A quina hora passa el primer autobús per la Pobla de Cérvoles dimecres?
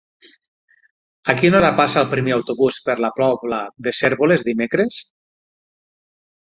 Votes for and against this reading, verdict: 3, 6, rejected